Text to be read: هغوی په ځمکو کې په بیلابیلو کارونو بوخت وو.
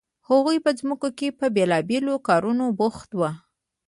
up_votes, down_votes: 2, 0